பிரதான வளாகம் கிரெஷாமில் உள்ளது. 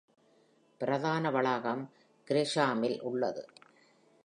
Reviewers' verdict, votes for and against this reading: accepted, 2, 0